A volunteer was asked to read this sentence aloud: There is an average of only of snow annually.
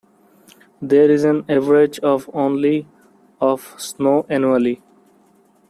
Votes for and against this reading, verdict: 2, 0, accepted